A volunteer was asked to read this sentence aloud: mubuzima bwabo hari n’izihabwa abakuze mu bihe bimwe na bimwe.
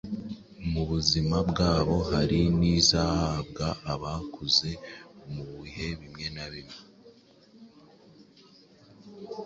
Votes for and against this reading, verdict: 2, 0, accepted